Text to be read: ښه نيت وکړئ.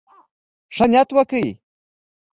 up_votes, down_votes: 2, 0